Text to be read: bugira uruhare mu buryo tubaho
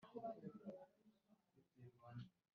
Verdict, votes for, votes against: rejected, 1, 2